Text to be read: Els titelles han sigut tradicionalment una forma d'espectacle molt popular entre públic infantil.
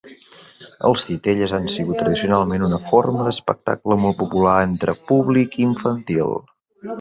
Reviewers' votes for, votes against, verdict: 3, 0, accepted